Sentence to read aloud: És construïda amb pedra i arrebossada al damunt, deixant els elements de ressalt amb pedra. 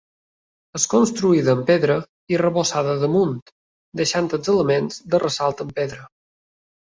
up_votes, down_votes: 2, 0